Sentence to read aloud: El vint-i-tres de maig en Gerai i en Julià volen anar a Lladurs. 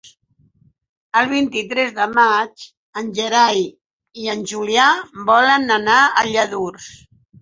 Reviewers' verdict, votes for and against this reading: accepted, 6, 0